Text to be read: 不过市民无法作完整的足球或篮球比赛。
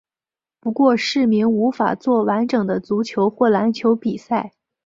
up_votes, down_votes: 3, 0